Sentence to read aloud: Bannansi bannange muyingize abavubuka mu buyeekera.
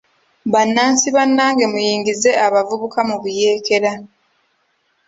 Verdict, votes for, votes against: accepted, 2, 0